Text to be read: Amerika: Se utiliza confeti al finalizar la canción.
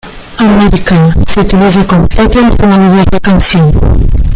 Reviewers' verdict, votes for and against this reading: rejected, 0, 2